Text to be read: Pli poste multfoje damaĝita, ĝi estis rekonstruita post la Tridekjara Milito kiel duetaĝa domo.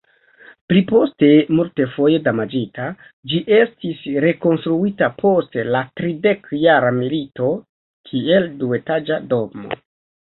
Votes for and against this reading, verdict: 2, 0, accepted